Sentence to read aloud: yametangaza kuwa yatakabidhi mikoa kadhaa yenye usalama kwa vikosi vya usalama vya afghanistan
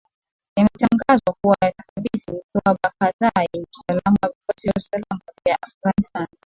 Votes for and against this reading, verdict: 11, 6, accepted